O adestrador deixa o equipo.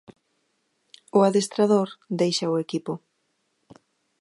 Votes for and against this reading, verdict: 2, 1, accepted